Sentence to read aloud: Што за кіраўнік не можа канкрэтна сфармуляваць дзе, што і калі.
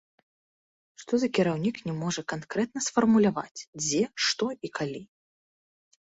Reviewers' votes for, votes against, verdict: 2, 0, accepted